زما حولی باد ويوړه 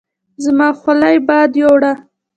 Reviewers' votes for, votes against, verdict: 2, 0, accepted